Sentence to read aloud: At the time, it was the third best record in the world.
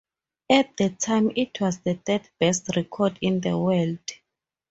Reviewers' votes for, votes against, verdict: 4, 0, accepted